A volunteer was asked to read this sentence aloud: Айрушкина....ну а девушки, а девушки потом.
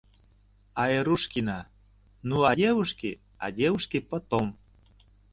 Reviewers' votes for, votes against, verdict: 2, 0, accepted